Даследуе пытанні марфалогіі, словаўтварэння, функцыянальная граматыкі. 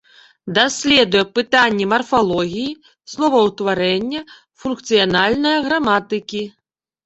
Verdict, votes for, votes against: accepted, 2, 0